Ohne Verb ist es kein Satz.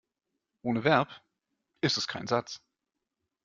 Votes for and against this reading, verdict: 2, 0, accepted